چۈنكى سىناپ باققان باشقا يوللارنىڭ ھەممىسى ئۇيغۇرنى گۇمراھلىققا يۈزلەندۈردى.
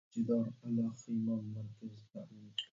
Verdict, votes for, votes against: rejected, 0, 2